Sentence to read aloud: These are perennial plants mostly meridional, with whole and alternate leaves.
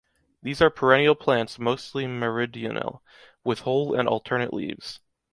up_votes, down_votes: 2, 0